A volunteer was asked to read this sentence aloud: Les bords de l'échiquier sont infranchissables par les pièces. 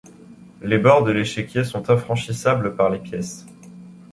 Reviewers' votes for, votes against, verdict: 2, 0, accepted